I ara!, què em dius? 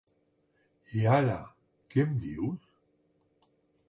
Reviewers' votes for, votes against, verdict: 1, 2, rejected